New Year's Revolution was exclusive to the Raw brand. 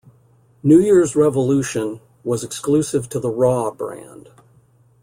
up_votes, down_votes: 2, 0